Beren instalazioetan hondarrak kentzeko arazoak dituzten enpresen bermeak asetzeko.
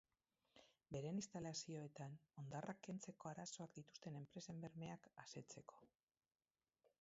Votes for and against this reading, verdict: 0, 4, rejected